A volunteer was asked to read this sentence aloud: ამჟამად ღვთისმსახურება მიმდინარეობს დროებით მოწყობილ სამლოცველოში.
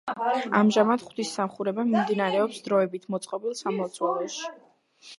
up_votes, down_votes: 1, 2